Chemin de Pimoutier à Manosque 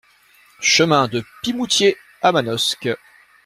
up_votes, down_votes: 2, 0